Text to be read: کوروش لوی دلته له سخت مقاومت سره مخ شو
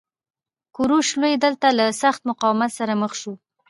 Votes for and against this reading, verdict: 0, 2, rejected